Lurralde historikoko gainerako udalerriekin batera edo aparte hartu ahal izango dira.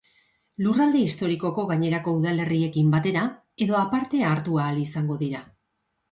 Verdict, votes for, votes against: accepted, 2, 0